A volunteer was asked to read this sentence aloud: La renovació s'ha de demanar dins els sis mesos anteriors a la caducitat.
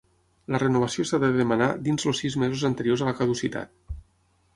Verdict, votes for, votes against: rejected, 3, 6